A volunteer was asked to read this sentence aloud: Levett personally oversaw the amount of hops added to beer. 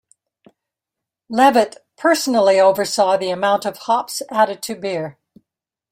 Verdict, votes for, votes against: accepted, 2, 0